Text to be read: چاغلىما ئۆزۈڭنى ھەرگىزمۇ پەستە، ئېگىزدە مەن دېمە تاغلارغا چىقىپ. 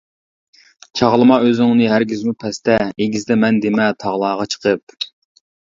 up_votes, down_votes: 2, 0